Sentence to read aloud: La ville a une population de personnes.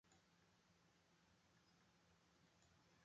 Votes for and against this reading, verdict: 0, 2, rejected